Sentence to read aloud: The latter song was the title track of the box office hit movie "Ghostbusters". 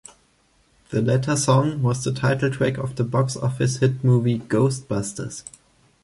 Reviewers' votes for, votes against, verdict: 2, 0, accepted